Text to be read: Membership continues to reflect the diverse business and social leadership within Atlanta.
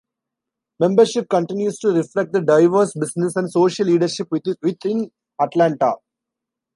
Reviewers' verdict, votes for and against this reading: rejected, 1, 2